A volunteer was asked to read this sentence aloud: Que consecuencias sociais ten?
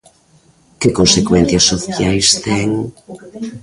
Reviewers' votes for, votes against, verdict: 0, 2, rejected